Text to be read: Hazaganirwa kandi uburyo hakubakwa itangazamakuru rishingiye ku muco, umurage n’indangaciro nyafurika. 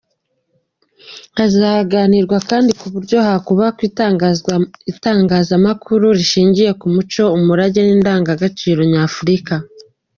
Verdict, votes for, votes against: rejected, 1, 2